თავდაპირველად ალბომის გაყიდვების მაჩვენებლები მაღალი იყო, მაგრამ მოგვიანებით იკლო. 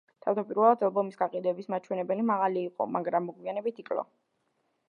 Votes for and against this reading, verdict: 1, 2, rejected